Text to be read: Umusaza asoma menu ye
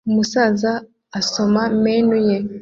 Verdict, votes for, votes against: accepted, 2, 0